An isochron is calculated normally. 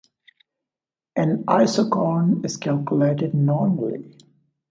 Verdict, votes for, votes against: accepted, 2, 1